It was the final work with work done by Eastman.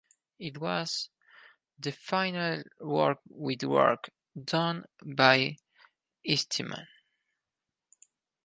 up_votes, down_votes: 4, 0